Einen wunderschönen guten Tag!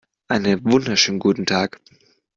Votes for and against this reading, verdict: 0, 2, rejected